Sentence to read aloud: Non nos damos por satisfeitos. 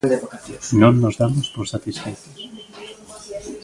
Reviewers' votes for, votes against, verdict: 2, 1, accepted